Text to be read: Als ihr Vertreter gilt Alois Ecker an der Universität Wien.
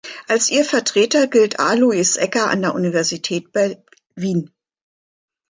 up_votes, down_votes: 1, 2